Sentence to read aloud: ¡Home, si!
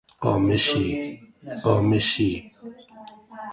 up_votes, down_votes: 0, 2